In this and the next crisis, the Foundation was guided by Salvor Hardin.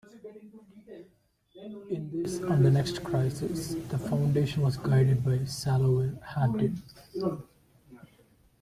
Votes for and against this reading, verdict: 0, 2, rejected